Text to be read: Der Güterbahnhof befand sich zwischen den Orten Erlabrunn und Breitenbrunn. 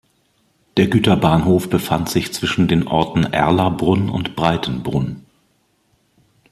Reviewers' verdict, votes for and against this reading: accepted, 2, 0